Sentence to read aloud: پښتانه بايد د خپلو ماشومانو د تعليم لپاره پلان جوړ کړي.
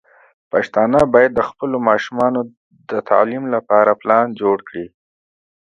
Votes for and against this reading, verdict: 2, 0, accepted